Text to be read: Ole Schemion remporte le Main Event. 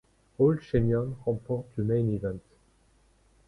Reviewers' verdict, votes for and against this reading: accepted, 2, 0